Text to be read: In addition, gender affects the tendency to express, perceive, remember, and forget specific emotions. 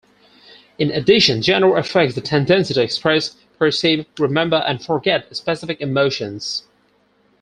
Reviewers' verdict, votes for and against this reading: rejected, 0, 4